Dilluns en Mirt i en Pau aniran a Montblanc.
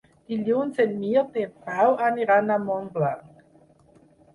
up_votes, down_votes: 4, 2